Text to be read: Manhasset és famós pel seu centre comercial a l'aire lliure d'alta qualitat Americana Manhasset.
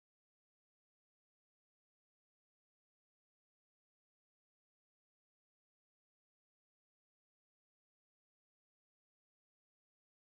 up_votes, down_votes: 1, 2